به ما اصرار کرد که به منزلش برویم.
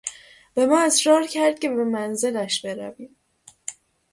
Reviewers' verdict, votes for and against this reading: accepted, 6, 0